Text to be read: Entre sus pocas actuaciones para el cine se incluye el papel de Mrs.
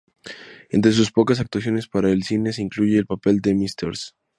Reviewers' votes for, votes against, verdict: 2, 0, accepted